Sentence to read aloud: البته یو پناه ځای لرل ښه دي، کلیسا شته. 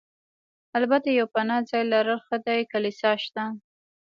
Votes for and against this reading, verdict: 2, 1, accepted